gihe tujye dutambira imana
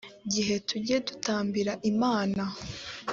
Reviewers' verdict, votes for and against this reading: accepted, 2, 0